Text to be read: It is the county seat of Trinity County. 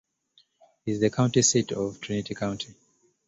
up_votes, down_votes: 1, 2